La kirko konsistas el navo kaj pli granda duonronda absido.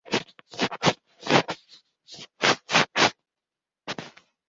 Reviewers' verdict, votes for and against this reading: rejected, 0, 2